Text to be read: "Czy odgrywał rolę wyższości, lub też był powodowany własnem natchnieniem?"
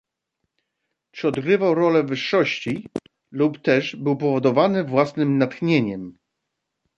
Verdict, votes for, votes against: accepted, 2, 0